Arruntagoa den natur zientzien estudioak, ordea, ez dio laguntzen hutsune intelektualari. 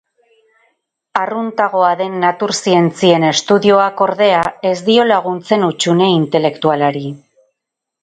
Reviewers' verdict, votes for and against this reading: rejected, 2, 2